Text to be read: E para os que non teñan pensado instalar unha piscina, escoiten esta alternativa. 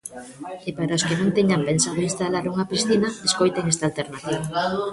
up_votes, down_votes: 2, 1